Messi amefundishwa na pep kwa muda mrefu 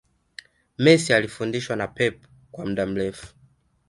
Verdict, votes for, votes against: accepted, 2, 0